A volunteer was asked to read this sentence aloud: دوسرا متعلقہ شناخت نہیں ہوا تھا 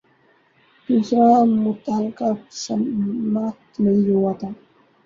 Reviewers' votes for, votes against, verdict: 0, 2, rejected